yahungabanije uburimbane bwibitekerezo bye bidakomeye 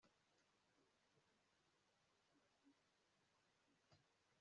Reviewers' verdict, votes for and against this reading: rejected, 0, 2